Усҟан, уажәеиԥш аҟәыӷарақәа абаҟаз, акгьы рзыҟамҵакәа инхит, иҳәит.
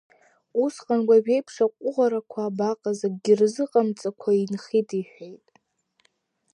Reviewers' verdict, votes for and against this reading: rejected, 0, 2